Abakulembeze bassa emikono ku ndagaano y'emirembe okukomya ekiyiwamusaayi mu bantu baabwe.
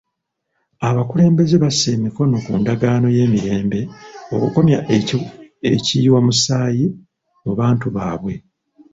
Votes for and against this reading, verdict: 2, 1, accepted